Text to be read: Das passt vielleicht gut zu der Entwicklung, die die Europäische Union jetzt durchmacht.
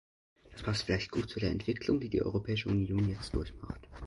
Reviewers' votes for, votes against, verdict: 1, 2, rejected